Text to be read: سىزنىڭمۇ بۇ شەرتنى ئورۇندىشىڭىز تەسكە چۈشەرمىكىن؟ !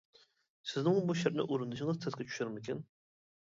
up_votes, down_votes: 0, 2